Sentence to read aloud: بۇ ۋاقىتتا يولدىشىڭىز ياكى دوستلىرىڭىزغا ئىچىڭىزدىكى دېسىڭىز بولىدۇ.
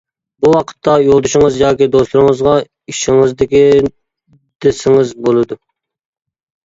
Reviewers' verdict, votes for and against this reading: rejected, 0, 2